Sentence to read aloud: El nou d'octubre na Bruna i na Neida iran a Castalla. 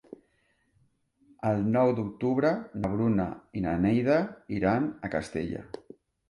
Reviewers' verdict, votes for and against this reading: rejected, 1, 2